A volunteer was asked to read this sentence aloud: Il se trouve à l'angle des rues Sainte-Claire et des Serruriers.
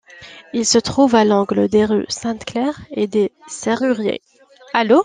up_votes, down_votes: 0, 2